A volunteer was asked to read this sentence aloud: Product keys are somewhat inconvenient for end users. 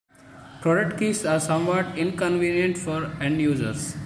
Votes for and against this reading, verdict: 2, 1, accepted